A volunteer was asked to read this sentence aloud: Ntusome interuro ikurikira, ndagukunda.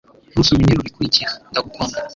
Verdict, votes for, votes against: rejected, 1, 2